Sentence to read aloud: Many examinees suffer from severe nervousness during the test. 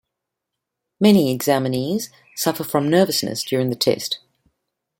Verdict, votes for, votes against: rejected, 0, 2